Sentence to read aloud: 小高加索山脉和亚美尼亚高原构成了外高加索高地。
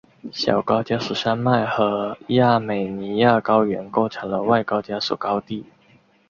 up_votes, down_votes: 3, 1